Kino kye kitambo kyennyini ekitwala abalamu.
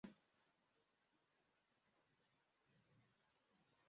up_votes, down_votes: 0, 2